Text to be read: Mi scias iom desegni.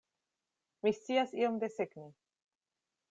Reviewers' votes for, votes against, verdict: 2, 0, accepted